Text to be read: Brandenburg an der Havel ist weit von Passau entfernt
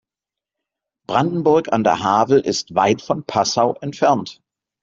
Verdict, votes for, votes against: accepted, 2, 0